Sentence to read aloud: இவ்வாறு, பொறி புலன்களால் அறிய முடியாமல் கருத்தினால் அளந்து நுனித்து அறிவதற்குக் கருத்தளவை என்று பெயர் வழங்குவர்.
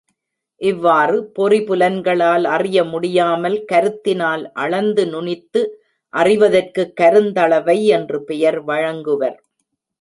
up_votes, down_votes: 0, 2